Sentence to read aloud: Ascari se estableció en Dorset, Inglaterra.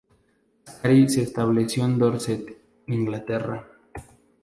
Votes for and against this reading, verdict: 0, 2, rejected